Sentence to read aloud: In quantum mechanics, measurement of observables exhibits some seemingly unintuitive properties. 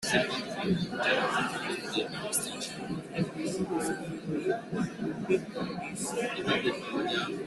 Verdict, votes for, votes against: rejected, 0, 2